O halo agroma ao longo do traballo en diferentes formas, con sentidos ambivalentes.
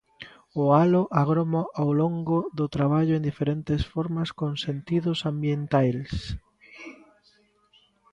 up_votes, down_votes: 0, 2